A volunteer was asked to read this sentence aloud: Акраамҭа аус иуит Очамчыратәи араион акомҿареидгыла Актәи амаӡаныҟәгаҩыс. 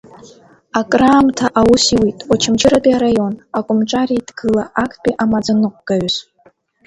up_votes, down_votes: 2, 1